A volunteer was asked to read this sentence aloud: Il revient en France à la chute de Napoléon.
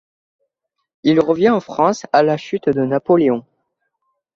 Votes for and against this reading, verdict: 2, 0, accepted